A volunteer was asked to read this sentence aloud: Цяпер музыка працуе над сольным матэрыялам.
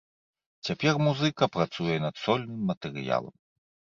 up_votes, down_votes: 2, 0